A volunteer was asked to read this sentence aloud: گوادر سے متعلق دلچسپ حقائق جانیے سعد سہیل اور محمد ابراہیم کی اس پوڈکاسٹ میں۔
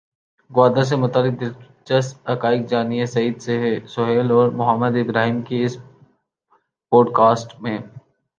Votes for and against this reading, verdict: 1, 2, rejected